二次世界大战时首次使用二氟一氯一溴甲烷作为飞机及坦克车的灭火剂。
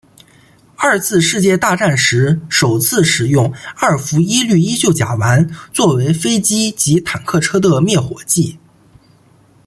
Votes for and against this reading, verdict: 2, 0, accepted